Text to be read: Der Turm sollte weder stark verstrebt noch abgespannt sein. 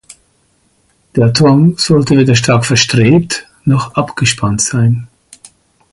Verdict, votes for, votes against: accepted, 4, 0